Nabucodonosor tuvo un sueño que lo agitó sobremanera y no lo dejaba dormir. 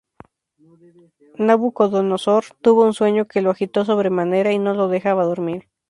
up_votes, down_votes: 2, 0